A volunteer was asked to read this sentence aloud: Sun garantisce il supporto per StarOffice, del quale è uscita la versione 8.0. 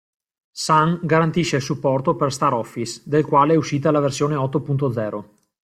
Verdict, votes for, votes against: rejected, 0, 2